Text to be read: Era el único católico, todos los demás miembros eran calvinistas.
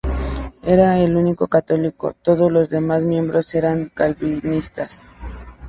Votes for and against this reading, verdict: 0, 2, rejected